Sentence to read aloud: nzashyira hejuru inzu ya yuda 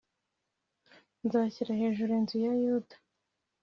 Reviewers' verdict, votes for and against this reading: accepted, 2, 0